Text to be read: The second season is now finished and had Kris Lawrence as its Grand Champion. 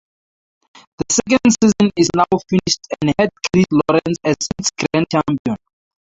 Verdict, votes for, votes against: rejected, 0, 4